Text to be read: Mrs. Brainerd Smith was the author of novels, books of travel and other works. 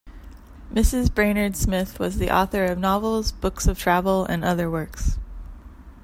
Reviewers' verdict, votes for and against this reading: accepted, 2, 0